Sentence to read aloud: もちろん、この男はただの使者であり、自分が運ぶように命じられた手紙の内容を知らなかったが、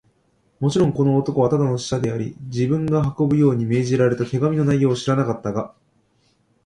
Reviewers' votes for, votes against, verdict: 2, 0, accepted